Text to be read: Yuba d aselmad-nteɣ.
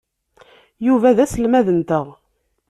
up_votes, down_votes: 2, 0